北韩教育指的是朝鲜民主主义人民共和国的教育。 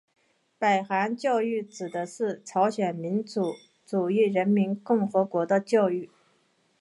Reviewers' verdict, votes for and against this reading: accepted, 2, 0